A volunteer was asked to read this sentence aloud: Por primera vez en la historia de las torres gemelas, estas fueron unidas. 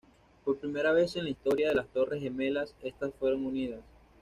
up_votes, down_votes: 2, 0